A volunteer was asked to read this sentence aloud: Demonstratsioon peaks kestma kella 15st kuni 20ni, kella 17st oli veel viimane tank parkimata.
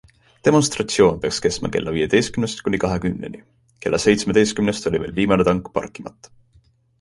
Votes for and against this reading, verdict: 0, 2, rejected